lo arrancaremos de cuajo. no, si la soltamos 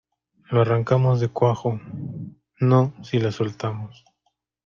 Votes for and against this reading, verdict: 1, 2, rejected